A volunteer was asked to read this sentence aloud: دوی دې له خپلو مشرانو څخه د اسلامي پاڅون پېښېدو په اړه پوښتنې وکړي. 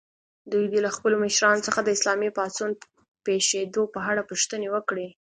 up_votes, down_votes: 2, 0